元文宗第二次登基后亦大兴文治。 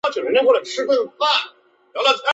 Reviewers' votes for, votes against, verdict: 1, 2, rejected